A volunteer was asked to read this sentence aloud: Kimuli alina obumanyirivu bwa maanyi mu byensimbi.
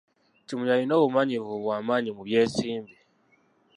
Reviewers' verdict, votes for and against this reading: rejected, 0, 2